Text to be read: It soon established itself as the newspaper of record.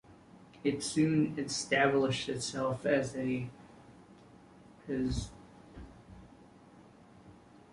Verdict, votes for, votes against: rejected, 0, 2